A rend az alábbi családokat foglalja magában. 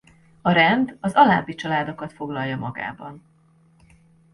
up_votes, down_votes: 2, 0